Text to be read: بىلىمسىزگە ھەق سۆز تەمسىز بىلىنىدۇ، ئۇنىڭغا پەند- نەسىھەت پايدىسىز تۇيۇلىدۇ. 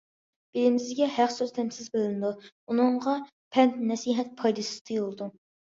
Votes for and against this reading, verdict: 2, 0, accepted